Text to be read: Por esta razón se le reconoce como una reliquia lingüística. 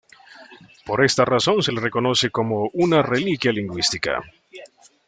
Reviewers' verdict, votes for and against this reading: accepted, 2, 0